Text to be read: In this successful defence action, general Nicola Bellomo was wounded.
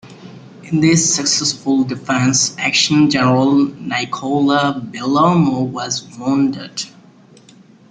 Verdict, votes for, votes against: rejected, 1, 2